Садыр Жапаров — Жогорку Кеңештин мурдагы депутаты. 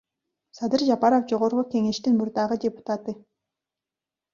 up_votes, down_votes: 1, 2